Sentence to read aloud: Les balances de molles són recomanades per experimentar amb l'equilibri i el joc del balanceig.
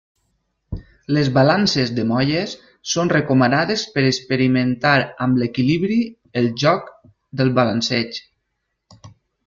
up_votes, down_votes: 0, 2